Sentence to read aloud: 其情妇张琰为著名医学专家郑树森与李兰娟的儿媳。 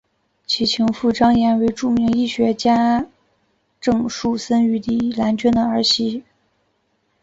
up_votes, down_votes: 1, 2